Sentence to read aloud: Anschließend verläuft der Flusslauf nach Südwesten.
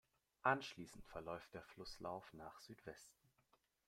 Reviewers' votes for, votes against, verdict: 2, 0, accepted